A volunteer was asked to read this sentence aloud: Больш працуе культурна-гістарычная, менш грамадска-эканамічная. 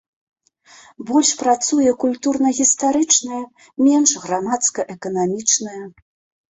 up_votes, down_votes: 2, 0